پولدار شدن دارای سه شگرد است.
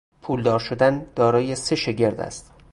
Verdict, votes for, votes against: accepted, 2, 0